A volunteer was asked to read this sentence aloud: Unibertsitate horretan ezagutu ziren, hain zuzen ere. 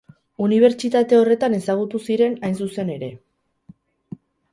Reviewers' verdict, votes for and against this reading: accepted, 4, 0